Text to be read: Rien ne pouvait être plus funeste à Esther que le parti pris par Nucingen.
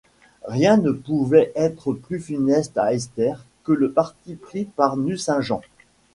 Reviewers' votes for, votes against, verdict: 1, 2, rejected